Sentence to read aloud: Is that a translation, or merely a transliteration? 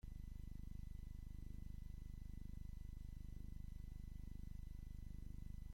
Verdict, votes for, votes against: rejected, 0, 2